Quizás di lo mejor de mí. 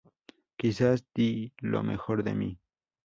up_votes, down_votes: 4, 0